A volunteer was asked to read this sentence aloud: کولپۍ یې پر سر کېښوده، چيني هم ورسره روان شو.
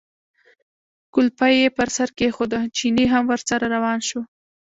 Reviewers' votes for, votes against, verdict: 1, 2, rejected